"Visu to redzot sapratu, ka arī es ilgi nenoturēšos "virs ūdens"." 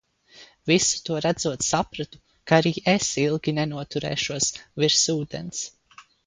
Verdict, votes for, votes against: accepted, 2, 0